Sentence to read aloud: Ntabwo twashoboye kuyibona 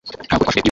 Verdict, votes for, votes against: rejected, 1, 2